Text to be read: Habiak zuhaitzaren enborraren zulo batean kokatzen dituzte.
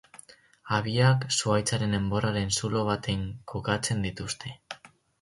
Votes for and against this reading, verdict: 0, 4, rejected